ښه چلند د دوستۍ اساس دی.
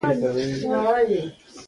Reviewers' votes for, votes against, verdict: 0, 2, rejected